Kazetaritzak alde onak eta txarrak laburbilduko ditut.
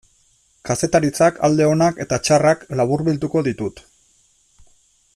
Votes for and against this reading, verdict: 2, 0, accepted